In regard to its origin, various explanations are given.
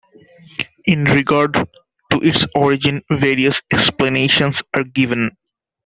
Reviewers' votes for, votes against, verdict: 2, 0, accepted